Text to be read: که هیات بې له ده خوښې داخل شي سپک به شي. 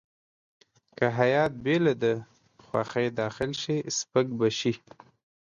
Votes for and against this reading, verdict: 1, 2, rejected